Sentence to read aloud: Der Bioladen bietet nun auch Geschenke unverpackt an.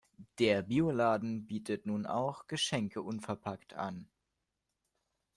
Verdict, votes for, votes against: accepted, 2, 0